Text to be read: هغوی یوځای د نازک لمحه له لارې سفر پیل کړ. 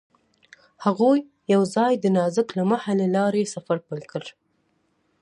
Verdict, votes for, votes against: accepted, 2, 0